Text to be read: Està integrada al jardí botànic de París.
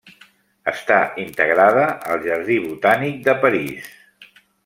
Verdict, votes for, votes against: accepted, 2, 1